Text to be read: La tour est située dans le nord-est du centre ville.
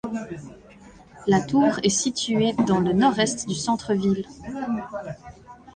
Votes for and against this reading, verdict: 1, 2, rejected